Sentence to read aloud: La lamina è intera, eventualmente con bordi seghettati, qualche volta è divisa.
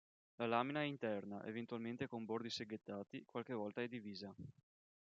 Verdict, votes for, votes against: rejected, 1, 2